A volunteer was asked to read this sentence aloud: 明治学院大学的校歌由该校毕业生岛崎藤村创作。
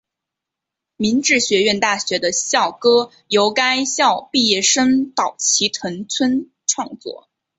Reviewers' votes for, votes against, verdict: 3, 0, accepted